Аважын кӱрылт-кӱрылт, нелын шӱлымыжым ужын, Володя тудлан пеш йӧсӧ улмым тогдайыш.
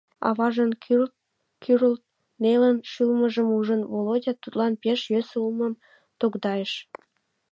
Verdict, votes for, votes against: rejected, 0, 2